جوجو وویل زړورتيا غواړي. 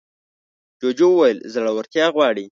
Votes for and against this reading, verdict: 2, 0, accepted